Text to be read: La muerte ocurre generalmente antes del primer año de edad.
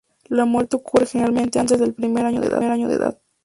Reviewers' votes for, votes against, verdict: 2, 0, accepted